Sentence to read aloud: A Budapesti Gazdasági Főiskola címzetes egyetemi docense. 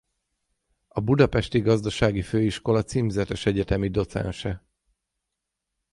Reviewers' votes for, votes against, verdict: 6, 0, accepted